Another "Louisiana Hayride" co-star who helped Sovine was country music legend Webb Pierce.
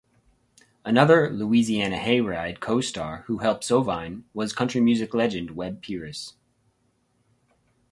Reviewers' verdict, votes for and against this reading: accepted, 2, 0